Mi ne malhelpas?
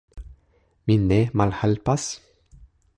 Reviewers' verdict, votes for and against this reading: rejected, 1, 2